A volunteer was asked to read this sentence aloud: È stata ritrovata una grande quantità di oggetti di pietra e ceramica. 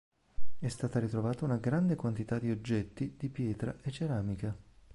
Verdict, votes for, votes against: accepted, 2, 0